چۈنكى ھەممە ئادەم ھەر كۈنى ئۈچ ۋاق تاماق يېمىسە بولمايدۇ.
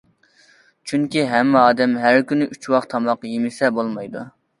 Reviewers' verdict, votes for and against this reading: accepted, 2, 0